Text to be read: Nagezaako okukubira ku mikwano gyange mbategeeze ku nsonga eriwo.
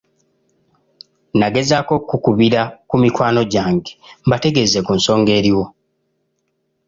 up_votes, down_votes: 2, 1